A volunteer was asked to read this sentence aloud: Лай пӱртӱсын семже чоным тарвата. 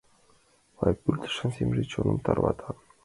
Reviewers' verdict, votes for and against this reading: accepted, 2, 1